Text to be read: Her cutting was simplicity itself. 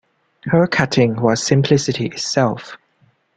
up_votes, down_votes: 2, 0